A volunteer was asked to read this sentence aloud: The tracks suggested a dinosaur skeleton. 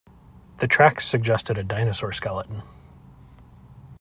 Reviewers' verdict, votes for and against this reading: accepted, 2, 0